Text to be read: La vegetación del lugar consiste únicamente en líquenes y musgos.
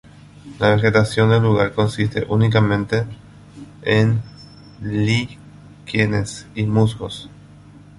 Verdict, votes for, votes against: rejected, 0, 2